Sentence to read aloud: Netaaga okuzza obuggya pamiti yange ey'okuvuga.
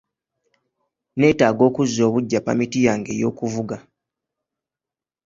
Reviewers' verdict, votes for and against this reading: accepted, 2, 0